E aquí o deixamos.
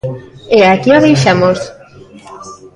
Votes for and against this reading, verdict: 2, 0, accepted